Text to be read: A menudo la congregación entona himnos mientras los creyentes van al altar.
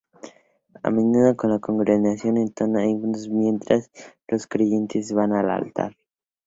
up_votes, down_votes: 0, 2